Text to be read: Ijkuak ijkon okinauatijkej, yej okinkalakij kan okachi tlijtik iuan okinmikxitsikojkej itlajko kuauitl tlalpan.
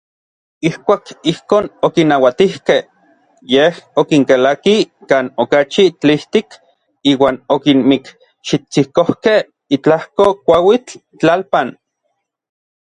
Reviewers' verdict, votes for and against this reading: accepted, 2, 0